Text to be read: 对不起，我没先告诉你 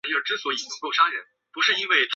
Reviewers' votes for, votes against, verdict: 0, 2, rejected